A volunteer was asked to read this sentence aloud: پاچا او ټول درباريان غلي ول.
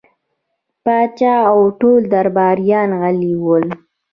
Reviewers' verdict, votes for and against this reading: accepted, 3, 2